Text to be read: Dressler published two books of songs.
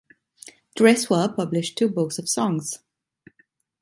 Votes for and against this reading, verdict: 2, 0, accepted